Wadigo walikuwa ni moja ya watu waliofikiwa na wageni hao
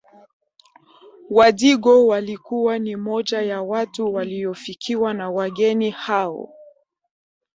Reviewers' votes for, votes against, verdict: 1, 2, rejected